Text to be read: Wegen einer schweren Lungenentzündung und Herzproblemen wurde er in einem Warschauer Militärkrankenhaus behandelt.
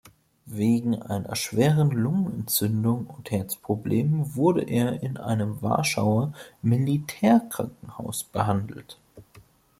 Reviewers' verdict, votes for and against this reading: accepted, 2, 0